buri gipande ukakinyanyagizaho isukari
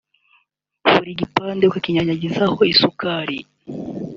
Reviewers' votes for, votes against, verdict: 2, 0, accepted